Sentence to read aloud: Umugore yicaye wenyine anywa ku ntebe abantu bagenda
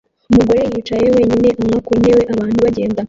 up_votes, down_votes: 0, 2